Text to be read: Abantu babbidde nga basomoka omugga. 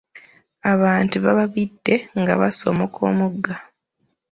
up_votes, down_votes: 0, 2